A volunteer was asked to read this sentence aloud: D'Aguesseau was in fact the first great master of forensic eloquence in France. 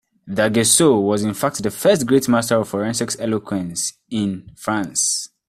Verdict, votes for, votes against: rejected, 0, 2